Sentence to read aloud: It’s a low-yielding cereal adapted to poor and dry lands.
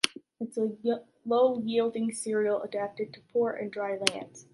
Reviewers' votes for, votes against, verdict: 3, 1, accepted